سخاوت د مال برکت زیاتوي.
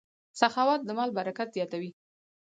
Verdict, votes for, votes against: rejected, 0, 4